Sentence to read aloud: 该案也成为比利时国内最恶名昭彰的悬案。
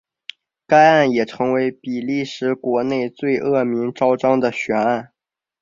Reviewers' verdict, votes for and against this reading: accepted, 5, 2